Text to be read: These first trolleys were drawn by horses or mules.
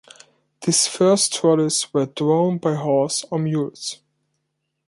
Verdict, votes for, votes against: rejected, 1, 2